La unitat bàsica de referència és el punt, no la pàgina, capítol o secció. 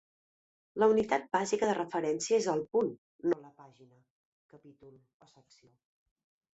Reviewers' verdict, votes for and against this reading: rejected, 1, 2